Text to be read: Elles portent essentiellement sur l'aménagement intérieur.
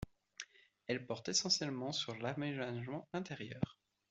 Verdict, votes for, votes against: accepted, 2, 0